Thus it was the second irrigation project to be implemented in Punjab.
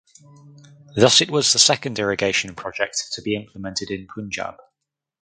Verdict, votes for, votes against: accepted, 4, 0